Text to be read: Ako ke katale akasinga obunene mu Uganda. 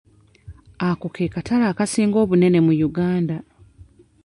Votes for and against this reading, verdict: 1, 2, rejected